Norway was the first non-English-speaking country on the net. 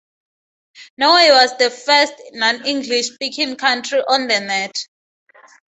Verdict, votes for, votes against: accepted, 2, 0